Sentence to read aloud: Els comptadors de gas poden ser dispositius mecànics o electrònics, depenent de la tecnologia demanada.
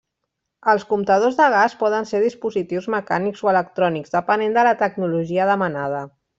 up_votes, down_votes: 3, 0